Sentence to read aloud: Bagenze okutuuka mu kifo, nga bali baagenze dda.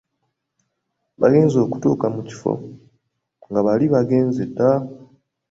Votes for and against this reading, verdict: 2, 1, accepted